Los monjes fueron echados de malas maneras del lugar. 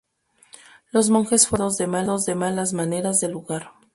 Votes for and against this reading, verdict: 0, 2, rejected